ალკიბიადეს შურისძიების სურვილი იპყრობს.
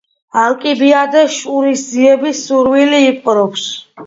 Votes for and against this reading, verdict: 2, 0, accepted